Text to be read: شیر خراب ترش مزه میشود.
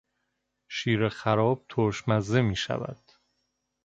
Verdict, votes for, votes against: accepted, 2, 0